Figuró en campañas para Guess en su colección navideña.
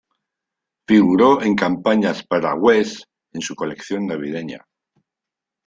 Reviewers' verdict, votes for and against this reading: accepted, 3, 0